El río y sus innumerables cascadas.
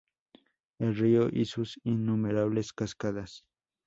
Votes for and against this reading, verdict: 2, 0, accepted